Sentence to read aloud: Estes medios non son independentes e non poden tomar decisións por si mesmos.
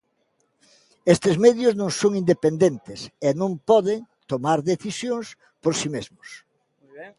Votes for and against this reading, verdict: 1, 2, rejected